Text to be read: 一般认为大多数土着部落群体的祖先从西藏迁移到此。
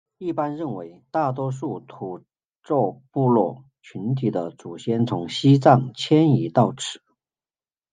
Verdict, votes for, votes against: accepted, 2, 1